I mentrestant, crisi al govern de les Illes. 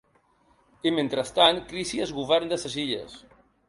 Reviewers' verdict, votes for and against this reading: rejected, 1, 2